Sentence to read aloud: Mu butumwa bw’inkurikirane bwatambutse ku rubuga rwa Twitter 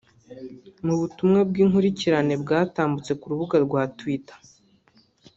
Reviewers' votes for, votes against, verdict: 0, 2, rejected